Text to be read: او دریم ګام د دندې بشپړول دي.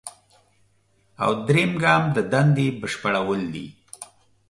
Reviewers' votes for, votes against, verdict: 3, 0, accepted